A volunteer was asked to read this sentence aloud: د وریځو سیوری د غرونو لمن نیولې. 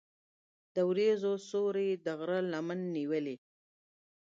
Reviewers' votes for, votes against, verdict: 3, 0, accepted